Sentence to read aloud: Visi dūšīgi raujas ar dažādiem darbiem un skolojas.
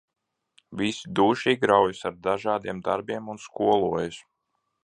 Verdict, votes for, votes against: accepted, 2, 0